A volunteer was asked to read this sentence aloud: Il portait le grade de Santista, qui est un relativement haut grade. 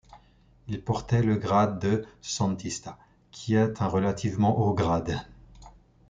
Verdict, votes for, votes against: accepted, 2, 1